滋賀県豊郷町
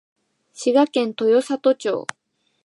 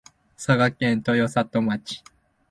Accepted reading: first